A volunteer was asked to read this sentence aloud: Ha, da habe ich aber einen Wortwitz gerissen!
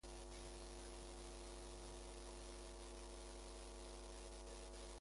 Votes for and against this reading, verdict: 0, 2, rejected